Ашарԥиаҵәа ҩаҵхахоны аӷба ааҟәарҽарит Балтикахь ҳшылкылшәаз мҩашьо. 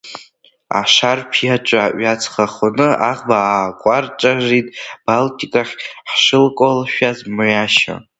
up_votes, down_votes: 1, 2